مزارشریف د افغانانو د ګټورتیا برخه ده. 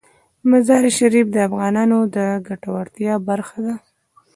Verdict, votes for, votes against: rejected, 1, 2